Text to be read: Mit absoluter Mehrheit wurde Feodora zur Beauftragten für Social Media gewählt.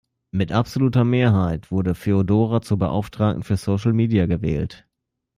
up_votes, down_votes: 2, 0